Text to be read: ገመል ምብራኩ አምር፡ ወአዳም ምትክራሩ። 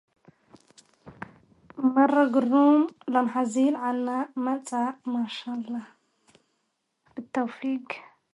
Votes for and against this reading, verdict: 0, 2, rejected